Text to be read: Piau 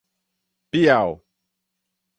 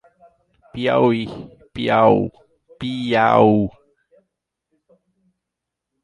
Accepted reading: first